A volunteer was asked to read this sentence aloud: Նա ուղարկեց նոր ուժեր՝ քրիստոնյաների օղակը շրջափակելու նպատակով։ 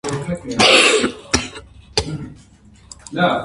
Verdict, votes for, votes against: rejected, 0, 2